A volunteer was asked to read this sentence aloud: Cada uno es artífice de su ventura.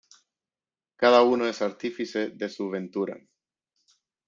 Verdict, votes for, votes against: accepted, 2, 0